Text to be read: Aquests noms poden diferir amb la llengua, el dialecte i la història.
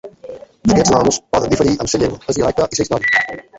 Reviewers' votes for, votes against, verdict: 0, 2, rejected